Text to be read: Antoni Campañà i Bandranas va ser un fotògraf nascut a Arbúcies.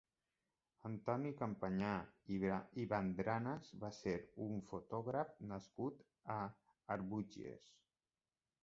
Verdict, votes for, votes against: rejected, 0, 2